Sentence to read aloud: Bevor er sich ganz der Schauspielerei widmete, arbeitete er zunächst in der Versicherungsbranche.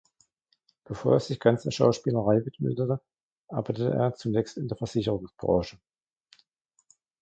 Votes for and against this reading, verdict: 0, 2, rejected